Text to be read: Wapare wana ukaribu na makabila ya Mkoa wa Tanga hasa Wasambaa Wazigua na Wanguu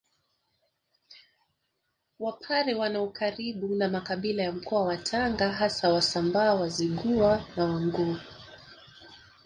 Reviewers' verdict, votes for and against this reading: rejected, 2, 3